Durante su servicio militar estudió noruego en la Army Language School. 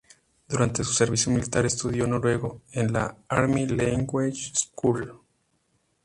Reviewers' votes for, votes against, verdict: 2, 0, accepted